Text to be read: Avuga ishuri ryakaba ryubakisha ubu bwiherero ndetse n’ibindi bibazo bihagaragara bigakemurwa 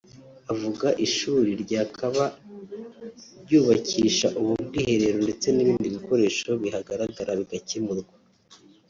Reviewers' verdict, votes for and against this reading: rejected, 2, 3